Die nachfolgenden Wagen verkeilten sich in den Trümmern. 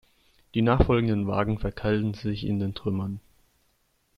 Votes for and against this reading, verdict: 2, 0, accepted